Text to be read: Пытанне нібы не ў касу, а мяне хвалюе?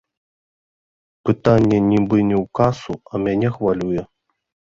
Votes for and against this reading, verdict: 2, 0, accepted